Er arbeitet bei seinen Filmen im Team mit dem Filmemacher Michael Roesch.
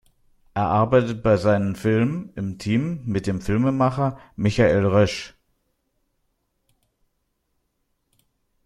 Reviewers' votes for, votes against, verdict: 2, 0, accepted